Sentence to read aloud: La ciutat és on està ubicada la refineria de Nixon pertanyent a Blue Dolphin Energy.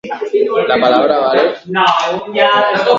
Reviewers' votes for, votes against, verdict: 0, 2, rejected